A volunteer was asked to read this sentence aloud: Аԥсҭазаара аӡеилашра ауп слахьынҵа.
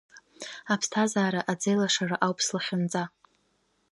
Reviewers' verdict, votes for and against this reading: rejected, 1, 2